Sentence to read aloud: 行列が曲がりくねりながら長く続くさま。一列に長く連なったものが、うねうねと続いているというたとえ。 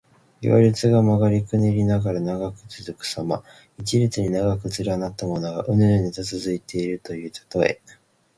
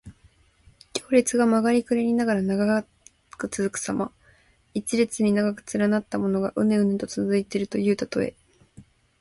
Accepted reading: second